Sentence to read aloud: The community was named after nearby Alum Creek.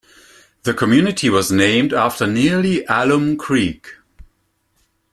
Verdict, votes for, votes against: rejected, 0, 2